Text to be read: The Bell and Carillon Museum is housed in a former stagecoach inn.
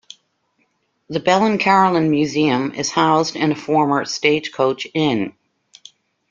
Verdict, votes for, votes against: accepted, 2, 0